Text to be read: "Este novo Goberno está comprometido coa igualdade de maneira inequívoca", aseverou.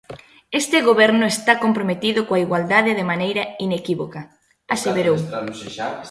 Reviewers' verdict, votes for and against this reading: rejected, 0, 2